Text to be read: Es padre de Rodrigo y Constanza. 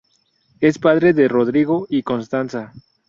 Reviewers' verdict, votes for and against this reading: accepted, 2, 0